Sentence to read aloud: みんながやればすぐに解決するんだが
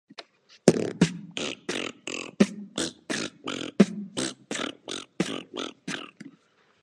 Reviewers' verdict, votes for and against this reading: rejected, 0, 2